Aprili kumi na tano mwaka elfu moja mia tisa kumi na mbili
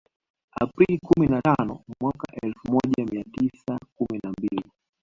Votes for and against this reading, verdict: 1, 2, rejected